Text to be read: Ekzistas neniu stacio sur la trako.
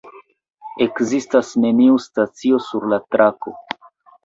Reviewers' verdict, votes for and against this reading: accepted, 2, 0